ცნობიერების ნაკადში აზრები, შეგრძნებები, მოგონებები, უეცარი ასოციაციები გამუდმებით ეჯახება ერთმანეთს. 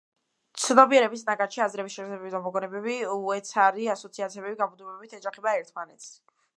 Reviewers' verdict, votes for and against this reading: rejected, 1, 2